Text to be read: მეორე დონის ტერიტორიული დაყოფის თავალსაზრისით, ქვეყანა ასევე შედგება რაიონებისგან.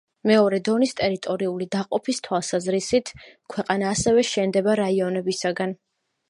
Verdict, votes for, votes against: rejected, 0, 2